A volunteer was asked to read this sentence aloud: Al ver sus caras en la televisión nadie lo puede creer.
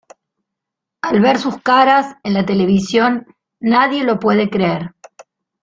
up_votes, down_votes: 2, 0